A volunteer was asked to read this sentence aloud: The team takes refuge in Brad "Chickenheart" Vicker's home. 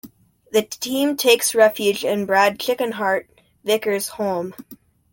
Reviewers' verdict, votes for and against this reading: accepted, 2, 0